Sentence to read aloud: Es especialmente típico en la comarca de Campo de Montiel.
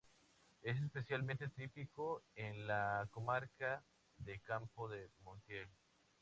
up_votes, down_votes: 2, 0